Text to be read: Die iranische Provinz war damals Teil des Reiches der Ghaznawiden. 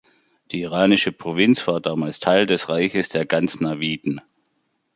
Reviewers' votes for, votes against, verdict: 0, 2, rejected